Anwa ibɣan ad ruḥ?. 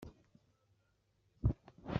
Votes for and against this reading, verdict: 1, 2, rejected